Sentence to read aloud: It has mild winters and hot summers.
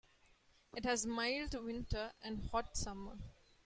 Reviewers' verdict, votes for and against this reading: rejected, 0, 2